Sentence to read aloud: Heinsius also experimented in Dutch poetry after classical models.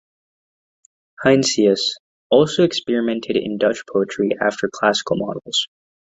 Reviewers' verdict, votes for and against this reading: accepted, 2, 0